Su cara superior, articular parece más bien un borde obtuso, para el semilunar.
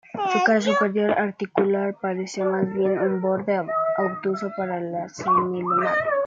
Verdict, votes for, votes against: rejected, 0, 2